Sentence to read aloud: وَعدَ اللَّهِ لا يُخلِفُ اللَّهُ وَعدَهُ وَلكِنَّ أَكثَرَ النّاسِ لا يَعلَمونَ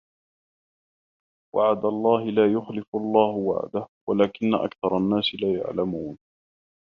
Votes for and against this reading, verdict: 2, 0, accepted